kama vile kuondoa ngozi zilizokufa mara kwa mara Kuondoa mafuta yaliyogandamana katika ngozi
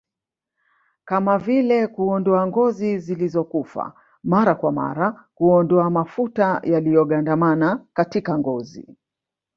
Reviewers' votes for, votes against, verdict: 1, 2, rejected